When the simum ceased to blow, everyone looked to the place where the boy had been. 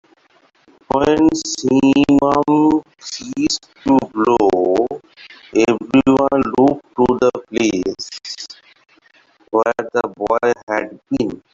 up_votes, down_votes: 0, 3